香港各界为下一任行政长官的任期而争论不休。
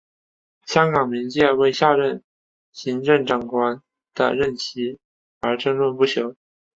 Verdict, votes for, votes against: accepted, 2, 0